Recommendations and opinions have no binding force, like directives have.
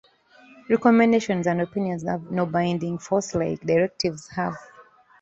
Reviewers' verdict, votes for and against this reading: accepted, 2, 0